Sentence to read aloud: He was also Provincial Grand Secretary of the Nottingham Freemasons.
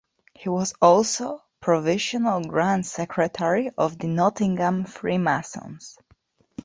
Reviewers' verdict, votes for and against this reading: rejected, 0, 2